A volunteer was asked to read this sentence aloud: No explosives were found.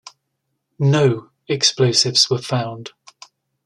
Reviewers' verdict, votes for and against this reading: accepted, 2, 0